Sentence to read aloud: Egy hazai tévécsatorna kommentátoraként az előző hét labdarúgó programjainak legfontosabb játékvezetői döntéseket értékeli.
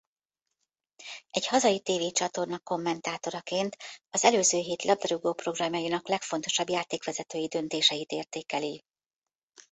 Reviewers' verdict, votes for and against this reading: rejected, 1, 2